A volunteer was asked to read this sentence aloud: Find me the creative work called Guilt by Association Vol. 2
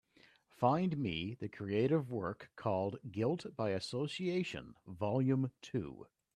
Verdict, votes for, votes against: rejected, 0, 2